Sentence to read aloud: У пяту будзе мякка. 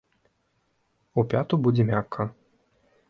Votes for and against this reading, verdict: 2, 1, accepted